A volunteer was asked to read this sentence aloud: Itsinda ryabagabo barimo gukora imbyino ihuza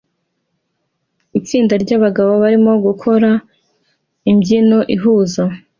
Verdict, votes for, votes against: accepted, 2, 0